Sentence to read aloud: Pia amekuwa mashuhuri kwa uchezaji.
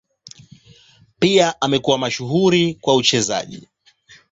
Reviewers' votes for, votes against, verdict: 7, 0, accepted